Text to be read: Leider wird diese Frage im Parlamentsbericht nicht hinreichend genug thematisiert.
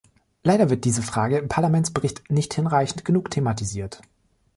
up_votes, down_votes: 0, 2